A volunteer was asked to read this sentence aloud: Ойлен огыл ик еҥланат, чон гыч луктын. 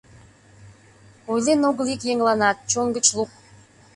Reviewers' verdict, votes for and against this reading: rejected, 1, 2